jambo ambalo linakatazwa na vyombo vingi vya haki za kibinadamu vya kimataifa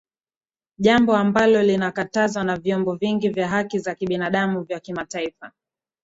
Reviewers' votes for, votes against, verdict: 3, 6, rejected